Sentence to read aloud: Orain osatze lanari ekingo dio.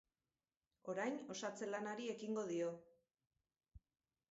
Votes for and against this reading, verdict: 2, 0, accepted